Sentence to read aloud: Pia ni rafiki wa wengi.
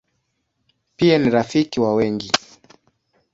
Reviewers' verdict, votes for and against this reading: accepted, 3, 0